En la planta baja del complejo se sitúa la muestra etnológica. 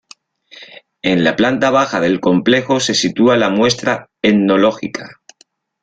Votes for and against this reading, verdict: 1, 2, rejected